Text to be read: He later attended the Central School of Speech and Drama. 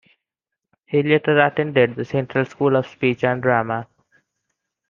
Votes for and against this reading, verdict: 3, 0, accepted